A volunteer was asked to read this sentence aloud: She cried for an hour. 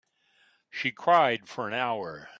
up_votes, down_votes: 2, 0